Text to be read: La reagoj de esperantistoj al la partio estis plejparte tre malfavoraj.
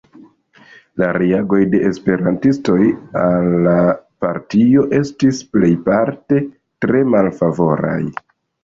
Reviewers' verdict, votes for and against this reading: accepted, 2, 1